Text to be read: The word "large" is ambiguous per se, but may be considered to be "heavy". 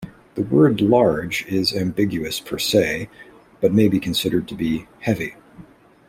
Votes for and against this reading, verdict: 2, 0, accepted